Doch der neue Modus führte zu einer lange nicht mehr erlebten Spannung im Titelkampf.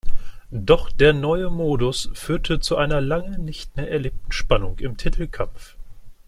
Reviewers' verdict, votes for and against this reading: accepted, 2, 0